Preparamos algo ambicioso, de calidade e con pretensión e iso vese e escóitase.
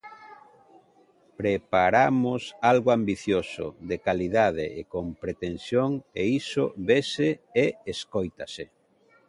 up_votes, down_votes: 2, 0